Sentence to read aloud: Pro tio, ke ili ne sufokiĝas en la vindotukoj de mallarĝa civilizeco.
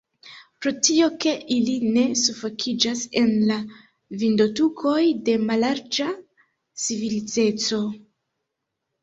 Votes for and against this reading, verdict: 0, 2, rejected